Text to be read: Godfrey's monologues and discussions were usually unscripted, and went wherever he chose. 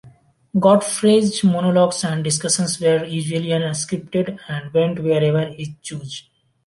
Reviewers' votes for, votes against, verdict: 0, 2, rejected